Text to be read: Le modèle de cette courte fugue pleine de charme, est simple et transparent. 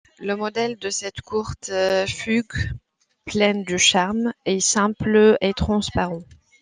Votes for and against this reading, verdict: 2, 1, accepted